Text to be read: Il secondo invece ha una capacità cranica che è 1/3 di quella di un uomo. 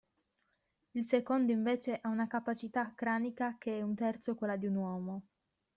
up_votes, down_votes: 0, 2